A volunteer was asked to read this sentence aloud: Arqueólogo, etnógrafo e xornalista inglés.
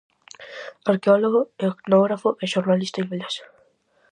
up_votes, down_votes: 4, 0